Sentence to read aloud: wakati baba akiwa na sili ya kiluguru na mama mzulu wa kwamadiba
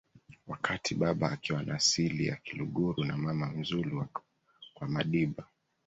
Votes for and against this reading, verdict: 2, 0, accepted